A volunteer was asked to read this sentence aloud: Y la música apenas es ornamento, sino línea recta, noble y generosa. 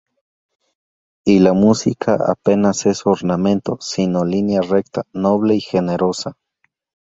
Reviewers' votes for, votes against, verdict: 2, 0, accepted